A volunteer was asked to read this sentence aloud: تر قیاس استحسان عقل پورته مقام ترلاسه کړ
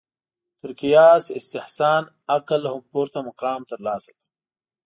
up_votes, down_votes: 1, 2